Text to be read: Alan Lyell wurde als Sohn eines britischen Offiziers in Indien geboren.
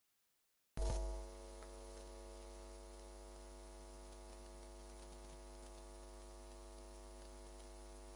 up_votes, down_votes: 0, 4